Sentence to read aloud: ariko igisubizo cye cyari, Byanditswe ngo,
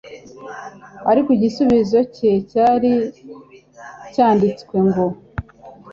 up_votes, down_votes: 2, 0